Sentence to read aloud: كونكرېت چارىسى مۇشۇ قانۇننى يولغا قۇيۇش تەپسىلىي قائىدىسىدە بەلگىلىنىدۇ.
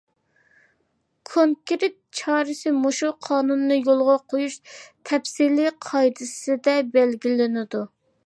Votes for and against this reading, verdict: 3, 0, accepted